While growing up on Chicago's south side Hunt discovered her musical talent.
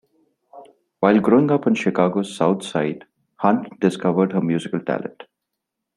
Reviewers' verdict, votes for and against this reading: rejected, 1, 2